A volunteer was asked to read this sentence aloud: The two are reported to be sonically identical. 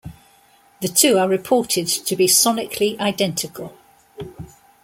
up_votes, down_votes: 2, 0